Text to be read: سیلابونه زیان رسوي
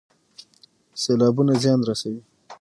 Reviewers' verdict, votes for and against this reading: rejected, 3, 6